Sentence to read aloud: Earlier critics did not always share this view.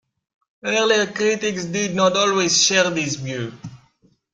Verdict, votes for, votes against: accepted, 2, 1